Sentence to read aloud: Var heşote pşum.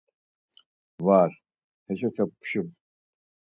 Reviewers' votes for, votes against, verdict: 4, 0, accepted